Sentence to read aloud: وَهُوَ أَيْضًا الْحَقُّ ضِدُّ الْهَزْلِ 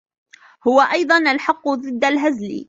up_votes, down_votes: 0, 2